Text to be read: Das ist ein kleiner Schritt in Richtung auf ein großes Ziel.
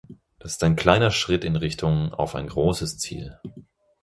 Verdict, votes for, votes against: rejected, 2, 4